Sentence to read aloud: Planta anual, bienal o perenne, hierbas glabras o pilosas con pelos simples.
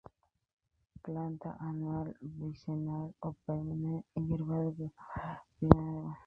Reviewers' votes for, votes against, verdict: 0, 2, rejected